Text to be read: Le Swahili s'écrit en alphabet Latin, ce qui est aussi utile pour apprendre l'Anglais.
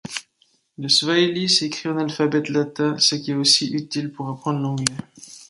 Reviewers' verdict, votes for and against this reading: accepted, 2, 0